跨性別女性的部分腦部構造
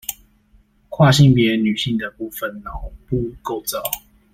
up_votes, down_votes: 1, 2